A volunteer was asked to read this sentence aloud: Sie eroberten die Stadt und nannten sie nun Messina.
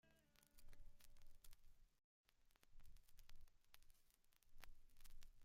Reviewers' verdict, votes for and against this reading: rejected, 0, 2